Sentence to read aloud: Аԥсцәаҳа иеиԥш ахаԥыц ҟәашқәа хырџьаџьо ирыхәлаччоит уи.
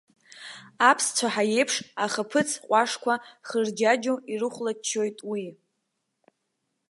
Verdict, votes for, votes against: rejected, 1, 2